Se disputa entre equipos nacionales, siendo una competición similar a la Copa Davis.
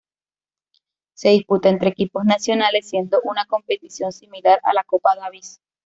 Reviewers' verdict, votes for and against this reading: accepted, 2, 1